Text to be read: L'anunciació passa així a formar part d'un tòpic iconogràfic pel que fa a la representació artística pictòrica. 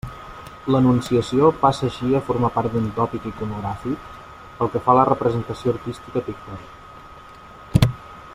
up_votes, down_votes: 2, 0